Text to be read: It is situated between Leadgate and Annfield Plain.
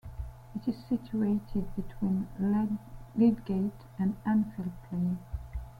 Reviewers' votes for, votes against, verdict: 0, 2, rejected